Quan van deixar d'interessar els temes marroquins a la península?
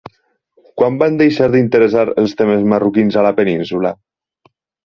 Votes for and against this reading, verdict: 8, 0, accepted